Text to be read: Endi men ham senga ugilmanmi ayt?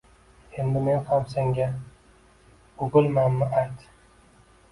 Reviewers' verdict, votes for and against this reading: rejected, 1, 2